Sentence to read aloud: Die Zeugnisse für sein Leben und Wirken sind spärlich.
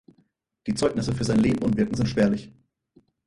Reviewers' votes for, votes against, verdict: 2, 4, rejected